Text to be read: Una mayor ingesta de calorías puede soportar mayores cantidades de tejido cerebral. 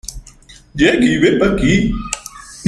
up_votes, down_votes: 0, 2